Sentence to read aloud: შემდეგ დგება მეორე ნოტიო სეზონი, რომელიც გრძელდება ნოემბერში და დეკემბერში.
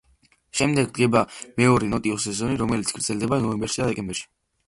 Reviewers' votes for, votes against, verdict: 2, 1, accepted